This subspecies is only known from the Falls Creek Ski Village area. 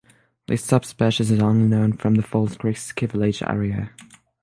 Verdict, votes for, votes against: accepted, 6, 0